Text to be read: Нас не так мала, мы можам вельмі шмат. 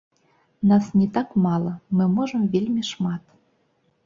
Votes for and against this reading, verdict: 0, 3, rejected